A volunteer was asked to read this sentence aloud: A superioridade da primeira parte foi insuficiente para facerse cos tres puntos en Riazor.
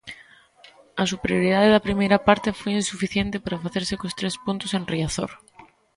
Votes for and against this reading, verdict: 2, 0, accepted